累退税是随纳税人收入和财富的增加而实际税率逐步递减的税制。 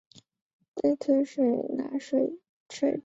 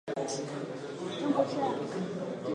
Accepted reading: first